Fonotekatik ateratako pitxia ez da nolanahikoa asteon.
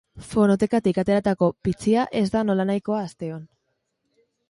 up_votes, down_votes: 4, 0